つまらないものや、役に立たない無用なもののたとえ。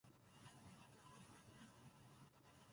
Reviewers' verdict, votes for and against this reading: rejected, 0, 2